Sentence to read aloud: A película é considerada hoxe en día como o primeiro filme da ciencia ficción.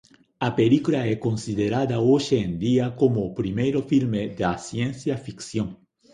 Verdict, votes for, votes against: rejected, 1, 2